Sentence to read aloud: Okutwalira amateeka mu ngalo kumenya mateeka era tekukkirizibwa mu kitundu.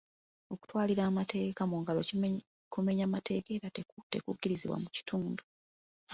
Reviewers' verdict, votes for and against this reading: rejected, 0, 2